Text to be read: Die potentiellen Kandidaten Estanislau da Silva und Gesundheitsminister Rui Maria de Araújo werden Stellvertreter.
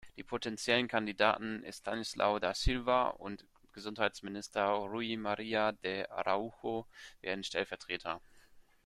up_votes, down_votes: 2, 1